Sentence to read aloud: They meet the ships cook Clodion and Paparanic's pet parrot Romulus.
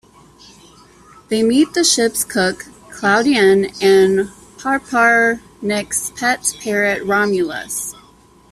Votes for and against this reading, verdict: 0, 2, rejected